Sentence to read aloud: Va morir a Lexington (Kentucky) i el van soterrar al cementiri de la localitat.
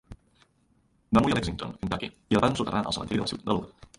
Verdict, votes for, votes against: rejected, 0, 3